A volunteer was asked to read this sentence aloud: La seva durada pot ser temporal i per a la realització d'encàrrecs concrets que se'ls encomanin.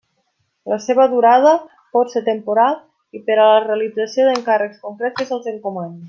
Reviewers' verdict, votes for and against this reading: accepted, 2, 0